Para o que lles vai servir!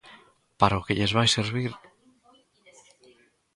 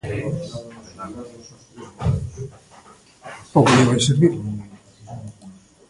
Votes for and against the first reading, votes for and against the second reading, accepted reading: 2, 0, 1, 2, first